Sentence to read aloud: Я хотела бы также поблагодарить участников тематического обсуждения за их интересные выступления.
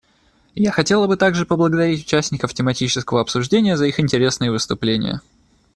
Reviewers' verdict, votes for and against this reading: accepted, 2, 0